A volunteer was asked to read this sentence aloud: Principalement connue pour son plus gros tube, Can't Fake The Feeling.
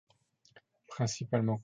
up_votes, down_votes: 0, 2